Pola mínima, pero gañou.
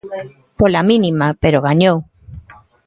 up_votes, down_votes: 2, 0